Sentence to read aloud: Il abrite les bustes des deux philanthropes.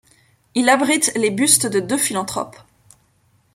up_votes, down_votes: 1, 2